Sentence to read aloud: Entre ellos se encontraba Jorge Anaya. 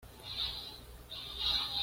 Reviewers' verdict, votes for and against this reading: rejected, 1, 2